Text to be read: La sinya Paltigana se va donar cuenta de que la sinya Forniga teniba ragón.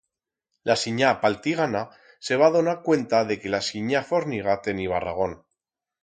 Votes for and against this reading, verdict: 2, 4, rejected